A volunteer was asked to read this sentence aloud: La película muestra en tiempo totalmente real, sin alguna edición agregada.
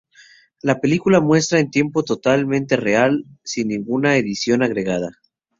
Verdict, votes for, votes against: rejected, 0, 4